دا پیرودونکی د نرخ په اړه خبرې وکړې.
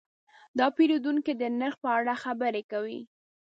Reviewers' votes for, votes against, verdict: 2, 1, accepted